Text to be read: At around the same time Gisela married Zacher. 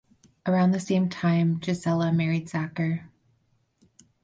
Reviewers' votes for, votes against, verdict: 2, 4, rejected